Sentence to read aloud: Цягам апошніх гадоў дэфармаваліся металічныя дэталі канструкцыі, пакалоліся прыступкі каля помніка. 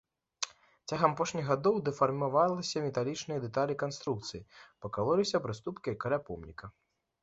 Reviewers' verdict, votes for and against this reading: accepted, 2, 0